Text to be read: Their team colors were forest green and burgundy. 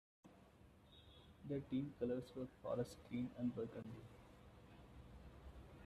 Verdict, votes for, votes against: rejected, 1, 2